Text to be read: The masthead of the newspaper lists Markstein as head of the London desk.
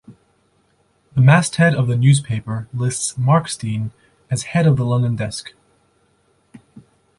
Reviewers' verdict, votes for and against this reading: accepted, 2, 0